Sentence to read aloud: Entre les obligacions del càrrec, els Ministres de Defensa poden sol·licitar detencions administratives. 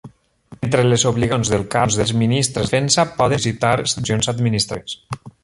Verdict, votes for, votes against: rejected, 0, 2